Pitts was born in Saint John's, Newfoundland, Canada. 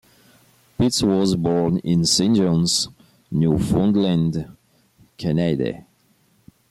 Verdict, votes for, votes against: accepted, 2, 0